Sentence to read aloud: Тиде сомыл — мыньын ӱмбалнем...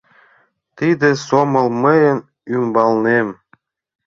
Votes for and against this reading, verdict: 1, 2, rejected